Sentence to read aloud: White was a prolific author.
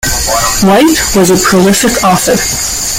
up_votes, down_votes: 0, 2